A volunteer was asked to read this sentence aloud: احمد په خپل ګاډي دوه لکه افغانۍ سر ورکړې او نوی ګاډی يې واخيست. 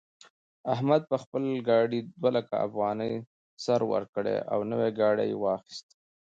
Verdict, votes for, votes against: rejected, 0, 2